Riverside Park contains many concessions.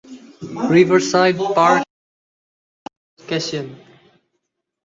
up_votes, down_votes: 0, 2